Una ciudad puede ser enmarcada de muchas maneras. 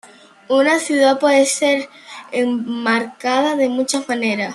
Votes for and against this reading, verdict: 1, 2, rejected